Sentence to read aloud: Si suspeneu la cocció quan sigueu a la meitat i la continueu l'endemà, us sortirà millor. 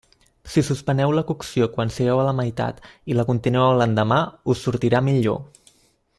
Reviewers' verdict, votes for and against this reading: accepted, 2, 0